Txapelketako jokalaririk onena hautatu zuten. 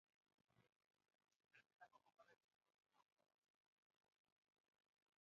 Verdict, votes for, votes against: rejected, 0, 4